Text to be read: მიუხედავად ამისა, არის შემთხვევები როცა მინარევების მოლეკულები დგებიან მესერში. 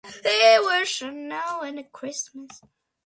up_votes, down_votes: 0, 2